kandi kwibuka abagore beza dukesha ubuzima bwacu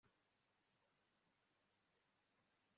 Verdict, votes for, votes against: accepted, 2, 0